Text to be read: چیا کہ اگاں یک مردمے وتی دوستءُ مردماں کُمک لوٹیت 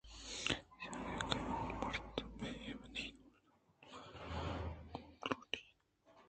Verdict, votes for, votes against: rejected, 1, 2